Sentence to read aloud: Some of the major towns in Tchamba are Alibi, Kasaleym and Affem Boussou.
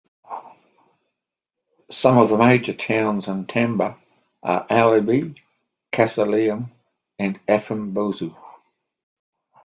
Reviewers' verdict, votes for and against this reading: accepted, 2, 1